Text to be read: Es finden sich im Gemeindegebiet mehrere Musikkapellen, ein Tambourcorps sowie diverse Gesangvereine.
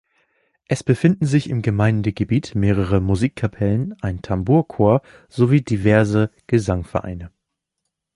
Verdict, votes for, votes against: rejected, 0, 2